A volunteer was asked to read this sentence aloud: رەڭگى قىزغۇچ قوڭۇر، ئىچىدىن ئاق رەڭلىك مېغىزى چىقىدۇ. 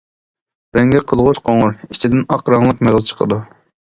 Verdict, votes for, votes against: rejected, 0, 2